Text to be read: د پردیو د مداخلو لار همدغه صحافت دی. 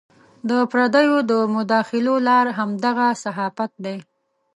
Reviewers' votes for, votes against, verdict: 2, 0, accepted